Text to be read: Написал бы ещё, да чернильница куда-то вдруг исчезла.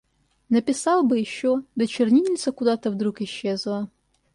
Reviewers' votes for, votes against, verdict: 2, 0, accepted